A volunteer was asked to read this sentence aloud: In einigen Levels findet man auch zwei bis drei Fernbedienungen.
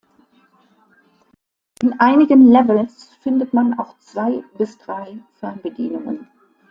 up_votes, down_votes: 2, 0